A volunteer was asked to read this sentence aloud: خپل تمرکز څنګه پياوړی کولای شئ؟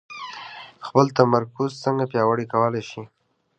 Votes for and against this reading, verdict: 2, 0, accepted